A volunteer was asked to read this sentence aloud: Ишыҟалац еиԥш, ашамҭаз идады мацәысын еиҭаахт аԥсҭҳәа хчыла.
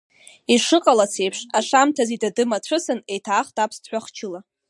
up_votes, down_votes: 0, 2